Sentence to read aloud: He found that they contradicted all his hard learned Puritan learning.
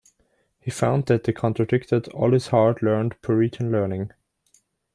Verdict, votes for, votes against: accepted, 2, 1